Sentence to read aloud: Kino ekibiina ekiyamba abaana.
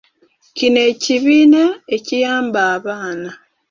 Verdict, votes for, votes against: accepted, 3, 0